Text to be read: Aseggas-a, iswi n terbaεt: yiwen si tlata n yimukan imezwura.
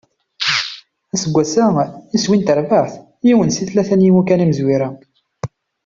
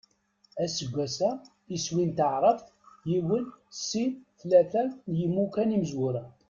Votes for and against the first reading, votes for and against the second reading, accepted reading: 2, 0, 1, 2, first